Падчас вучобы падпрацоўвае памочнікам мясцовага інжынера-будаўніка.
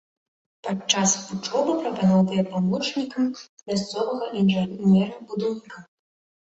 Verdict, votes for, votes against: rejected, 0, 2